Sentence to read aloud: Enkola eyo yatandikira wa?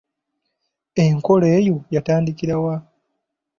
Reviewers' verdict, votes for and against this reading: accepted, 2, 0